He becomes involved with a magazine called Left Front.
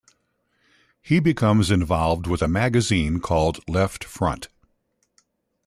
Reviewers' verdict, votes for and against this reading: accepted, 3, 0